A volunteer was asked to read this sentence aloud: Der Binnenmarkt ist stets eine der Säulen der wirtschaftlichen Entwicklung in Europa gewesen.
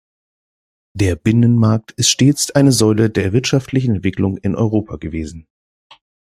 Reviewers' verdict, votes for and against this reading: rejected, 1, 2